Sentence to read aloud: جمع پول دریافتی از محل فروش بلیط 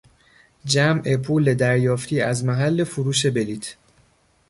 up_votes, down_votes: 1, 2